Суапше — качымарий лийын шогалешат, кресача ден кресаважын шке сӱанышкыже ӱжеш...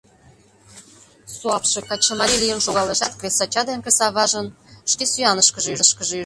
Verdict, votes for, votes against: rejected, 1, 2